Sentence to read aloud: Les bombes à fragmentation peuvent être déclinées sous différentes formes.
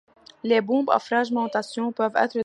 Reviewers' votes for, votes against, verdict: 1, 2, rejected